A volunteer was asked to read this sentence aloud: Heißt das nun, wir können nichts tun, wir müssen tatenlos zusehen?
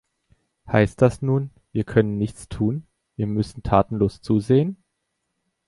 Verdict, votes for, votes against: accepted, 2, 0